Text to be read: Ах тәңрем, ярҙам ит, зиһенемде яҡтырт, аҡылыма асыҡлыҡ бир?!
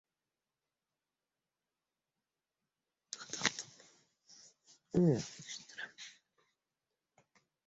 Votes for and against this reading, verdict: 0, 2, rejected